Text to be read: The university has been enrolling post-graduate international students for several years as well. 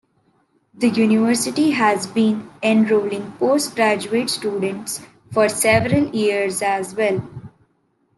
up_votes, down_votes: 0, 2